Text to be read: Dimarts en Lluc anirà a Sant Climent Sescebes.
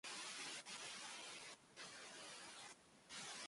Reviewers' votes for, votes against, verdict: 1, 2, rejected